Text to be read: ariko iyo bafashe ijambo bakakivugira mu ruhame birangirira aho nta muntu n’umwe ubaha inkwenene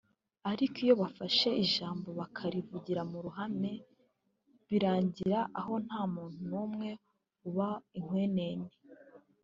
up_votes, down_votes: 1, 2